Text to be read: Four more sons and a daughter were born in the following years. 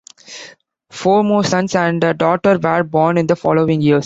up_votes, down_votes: 1, 2